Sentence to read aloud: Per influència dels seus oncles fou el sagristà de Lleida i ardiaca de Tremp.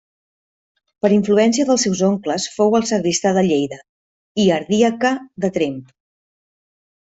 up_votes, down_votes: 1, 2